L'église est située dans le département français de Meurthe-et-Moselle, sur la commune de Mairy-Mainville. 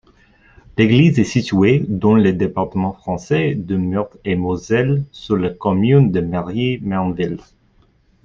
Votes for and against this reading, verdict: 2, 0, accepted